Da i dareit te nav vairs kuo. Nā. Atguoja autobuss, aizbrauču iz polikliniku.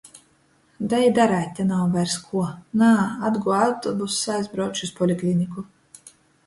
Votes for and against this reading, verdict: 2, 0, accepted